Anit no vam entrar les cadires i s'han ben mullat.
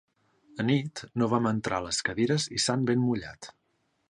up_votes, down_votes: 3, 0